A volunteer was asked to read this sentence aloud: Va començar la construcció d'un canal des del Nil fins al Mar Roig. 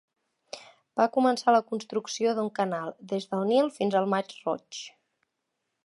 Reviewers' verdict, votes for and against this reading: rejected, 1, 2